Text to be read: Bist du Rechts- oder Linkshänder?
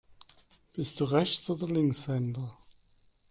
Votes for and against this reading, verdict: 2, 0, accepted